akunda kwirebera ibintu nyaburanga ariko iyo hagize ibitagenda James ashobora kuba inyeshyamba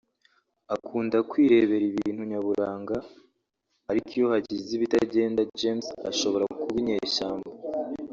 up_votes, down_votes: 2, 0